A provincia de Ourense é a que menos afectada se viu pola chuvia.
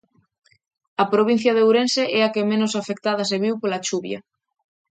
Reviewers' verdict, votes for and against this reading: accepted, 3, 0